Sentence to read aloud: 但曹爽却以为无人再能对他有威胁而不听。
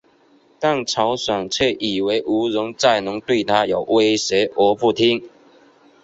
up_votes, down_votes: 2, 2